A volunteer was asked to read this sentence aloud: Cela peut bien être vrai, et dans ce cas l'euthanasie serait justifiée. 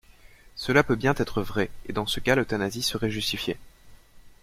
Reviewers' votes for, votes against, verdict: 2, 0, accepted